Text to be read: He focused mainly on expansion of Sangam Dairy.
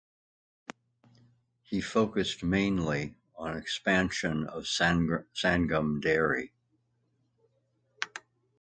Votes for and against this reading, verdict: 0, 2, rejected